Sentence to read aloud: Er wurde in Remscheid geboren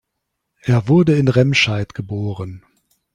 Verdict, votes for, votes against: accepted, 3, 0